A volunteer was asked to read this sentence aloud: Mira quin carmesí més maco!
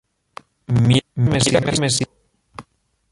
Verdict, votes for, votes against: rejected, 0, 2